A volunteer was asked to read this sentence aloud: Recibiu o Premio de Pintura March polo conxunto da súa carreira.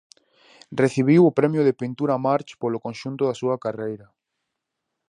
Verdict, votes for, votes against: accepted, 4, 0